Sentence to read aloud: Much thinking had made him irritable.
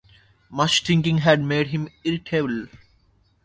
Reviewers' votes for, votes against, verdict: 1, 2, rejected